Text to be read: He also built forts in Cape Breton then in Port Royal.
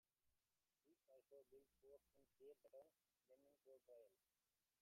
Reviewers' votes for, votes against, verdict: 0, 2, rejected